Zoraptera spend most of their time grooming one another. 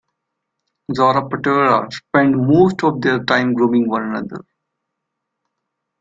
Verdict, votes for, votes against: rejected, 0, 2